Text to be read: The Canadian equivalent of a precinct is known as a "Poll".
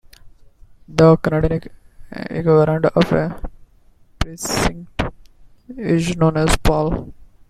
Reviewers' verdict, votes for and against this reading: rejected, 1, 2